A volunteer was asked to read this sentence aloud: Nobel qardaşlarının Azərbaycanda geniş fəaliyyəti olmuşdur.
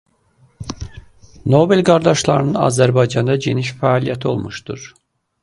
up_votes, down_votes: 2, 0